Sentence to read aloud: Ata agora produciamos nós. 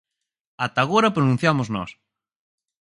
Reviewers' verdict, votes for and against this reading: rejected, 2, 4